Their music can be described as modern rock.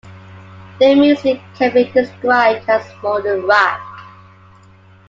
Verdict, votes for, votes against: accepted, 2, 0